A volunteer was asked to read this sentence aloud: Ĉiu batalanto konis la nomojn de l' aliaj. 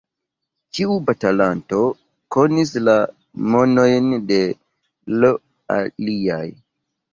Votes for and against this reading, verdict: 0, 3, rejected